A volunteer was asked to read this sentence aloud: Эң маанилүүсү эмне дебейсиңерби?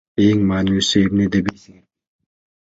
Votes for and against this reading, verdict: 1, 2, rejected